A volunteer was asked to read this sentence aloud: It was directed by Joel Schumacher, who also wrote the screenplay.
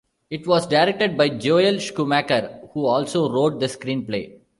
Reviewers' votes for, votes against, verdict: 1, 2, rejected